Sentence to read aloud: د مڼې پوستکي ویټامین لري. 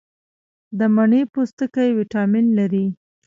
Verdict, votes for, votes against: rejected, 0, 2